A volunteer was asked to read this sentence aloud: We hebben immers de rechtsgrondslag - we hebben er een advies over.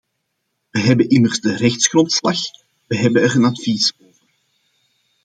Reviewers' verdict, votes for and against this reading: accepted, 2, 1